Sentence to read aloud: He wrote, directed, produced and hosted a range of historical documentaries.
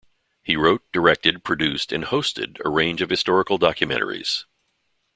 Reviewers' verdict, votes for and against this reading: accepted, 2, 0